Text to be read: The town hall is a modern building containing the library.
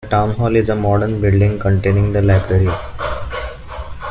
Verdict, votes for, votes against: accepted, 2, 0